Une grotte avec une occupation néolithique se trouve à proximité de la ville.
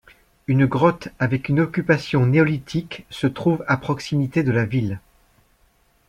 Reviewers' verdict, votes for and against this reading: accepted, 2, 0